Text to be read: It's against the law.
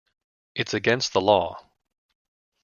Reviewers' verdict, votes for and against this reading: accepted, 2, 0